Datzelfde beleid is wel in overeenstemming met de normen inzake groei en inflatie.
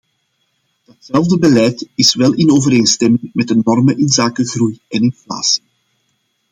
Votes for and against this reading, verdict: 2, 0, accepted